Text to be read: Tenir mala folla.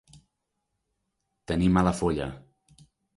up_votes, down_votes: 2, 0